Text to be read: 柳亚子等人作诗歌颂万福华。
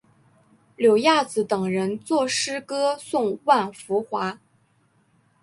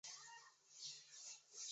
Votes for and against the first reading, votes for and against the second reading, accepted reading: 2, 0, 0, 2, first